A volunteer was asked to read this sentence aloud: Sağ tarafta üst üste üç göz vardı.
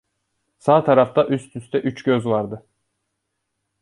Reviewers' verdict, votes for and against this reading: accepted, 2, 0